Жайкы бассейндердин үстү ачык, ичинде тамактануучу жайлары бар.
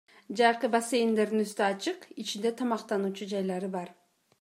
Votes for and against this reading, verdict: 2, 0, accepted